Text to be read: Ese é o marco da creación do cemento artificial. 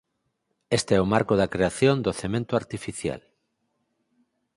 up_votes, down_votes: 2, 4